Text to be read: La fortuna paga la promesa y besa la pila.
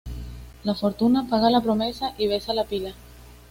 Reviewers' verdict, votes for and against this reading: accepted, 2, 0